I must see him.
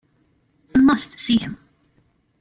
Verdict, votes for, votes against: accepted, 2, 1